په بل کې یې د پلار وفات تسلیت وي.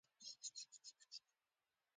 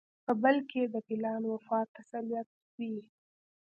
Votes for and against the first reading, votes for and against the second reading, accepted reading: 0, 2, 2, 0, second